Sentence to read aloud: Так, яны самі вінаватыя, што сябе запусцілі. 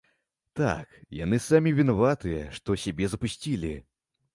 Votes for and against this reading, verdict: 2, 0, accepted